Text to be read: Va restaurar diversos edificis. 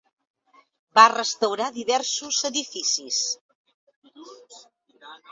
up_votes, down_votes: 2, 1